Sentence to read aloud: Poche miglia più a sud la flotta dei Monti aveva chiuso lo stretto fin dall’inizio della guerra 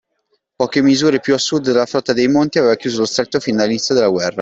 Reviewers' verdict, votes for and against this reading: rejected, 0, 2